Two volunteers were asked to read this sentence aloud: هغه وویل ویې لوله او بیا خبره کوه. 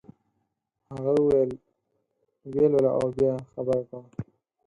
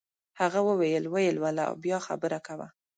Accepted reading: second